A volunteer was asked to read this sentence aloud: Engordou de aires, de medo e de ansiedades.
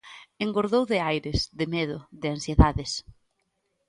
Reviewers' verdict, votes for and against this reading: accepted, 2, 0